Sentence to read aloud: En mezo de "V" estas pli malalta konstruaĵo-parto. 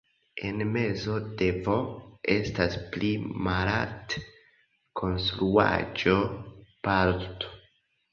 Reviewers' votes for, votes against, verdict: 1, 2, rejected